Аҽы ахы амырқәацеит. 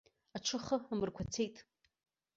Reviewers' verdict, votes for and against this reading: rejected, 1, 2